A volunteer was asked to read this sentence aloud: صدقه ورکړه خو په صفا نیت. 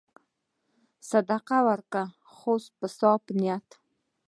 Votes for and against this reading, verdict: 1, 2, rejected